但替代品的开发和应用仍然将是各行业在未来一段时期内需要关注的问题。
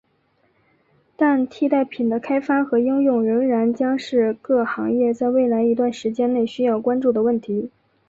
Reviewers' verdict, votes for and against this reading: accepted, 7, 0